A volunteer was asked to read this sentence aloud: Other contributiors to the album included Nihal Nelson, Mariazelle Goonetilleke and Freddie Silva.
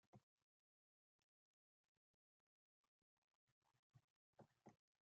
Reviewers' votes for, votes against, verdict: 0, 2, rejected